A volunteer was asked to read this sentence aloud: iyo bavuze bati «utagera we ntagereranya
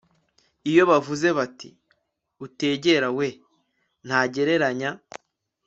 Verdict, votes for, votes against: rejected, 1, 2